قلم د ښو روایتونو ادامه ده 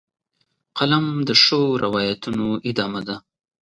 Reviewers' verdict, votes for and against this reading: accepted, 2, 0